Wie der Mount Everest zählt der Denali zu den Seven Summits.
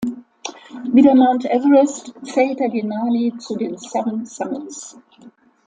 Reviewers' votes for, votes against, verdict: 2, 0, accepted